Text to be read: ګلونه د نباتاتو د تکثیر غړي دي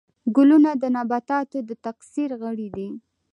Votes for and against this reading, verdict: 2, 0, accepted